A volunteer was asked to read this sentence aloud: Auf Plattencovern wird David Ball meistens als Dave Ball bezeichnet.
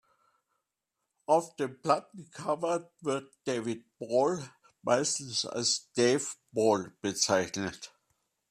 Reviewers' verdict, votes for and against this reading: rejected, 1, 2